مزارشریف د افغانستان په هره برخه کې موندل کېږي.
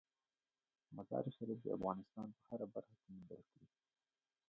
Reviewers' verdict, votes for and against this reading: accepted, 2, 1